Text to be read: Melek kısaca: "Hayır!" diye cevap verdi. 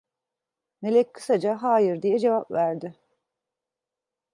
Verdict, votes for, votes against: accepted, 2, 0